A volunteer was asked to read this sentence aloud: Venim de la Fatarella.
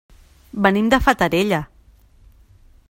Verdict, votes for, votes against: rejected, 0, 2